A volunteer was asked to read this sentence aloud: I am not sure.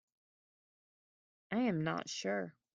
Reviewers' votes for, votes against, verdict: 1, 2, rejected